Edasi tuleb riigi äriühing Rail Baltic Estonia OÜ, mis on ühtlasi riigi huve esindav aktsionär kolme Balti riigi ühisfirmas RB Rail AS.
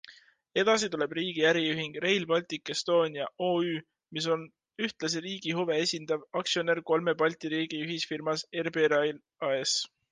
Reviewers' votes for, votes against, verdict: 2, 0, accepted